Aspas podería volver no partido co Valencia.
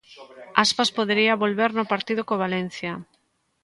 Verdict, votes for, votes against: accepted, 2, 1